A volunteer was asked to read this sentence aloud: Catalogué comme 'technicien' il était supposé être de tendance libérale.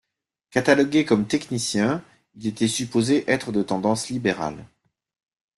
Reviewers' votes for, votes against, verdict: 2, 0, accepted